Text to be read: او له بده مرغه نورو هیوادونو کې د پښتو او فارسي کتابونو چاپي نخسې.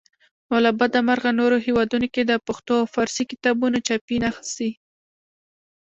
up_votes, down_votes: 1, 2